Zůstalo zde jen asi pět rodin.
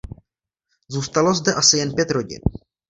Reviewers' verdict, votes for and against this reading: rejected, 1, 2